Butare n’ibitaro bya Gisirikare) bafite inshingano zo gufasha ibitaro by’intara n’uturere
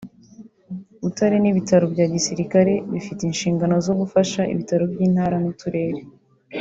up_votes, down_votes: 2, 1